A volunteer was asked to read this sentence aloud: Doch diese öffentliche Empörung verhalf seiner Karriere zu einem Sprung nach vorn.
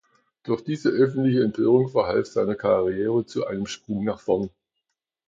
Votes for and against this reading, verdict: 0, 2, rejected